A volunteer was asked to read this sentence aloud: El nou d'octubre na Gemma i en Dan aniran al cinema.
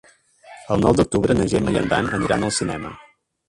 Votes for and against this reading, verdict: 1, 2, rejected